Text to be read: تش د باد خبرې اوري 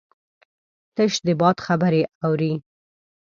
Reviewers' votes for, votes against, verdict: 2, 0, accepted